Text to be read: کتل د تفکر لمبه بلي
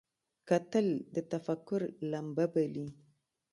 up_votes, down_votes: 0, 2